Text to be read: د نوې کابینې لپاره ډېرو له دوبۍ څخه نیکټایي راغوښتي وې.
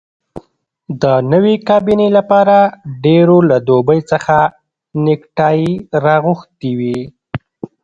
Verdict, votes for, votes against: rejected, 1, 2